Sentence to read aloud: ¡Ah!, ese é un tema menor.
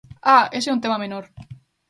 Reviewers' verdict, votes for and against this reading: accepted, 2, 0